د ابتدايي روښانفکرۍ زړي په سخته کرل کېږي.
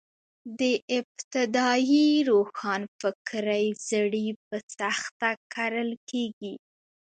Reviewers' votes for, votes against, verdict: 1, 2, rejected